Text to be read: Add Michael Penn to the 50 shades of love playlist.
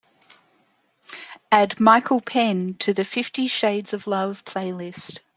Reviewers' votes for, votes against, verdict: 0, 2, rejected